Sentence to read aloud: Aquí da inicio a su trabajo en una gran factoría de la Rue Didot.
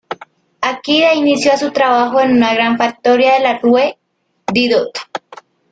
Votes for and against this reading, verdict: 0, 2, rejected